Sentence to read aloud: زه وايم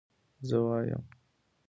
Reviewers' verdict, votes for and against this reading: accepted, 2, 0